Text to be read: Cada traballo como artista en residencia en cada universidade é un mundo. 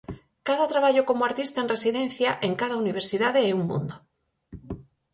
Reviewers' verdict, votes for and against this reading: accepted, 4, 0